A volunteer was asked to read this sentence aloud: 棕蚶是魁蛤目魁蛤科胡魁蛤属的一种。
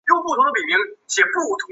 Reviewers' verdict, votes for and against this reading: rejected, 2, 5